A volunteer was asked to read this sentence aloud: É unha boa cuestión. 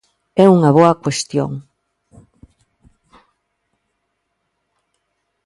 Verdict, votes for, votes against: accepted, 2, 0